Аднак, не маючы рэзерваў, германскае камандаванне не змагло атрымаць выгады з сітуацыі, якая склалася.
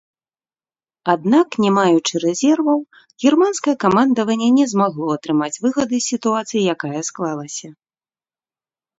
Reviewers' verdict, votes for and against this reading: rejected, 0, 2